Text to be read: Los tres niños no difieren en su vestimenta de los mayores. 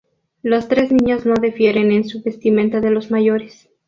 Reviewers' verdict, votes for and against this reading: accepted, 2, 0